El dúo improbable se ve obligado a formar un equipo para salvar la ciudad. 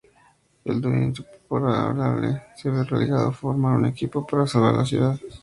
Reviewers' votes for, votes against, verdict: 0, 2, rejected